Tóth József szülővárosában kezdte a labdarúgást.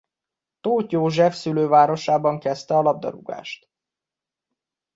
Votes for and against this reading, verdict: 2, 0, accepted